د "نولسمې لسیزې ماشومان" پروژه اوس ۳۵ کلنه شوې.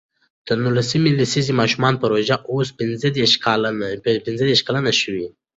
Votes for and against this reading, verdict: 0, 2, rejected